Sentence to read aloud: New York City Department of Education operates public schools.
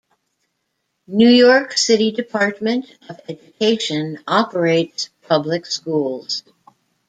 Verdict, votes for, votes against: rejected, 1, 2